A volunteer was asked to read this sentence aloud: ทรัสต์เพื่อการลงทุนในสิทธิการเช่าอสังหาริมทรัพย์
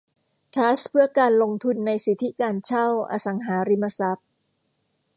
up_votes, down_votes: 2, 0